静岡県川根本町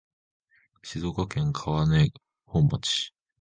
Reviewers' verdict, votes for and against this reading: rejected, 0, 2